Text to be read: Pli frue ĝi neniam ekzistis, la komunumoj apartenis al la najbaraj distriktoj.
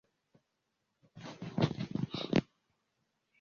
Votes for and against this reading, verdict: 0, 2, rejected